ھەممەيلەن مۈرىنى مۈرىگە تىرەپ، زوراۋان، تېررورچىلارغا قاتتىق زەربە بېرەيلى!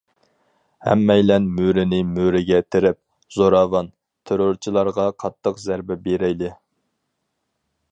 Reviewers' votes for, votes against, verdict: 4, 0, accepted